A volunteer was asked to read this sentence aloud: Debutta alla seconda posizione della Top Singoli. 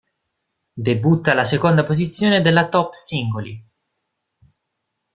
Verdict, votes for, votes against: accepted, 2, 0